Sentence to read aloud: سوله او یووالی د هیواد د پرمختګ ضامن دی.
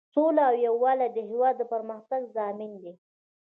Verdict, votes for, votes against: accepted, 2, 0